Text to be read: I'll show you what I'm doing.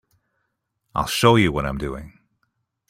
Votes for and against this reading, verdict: 2, 0, accepted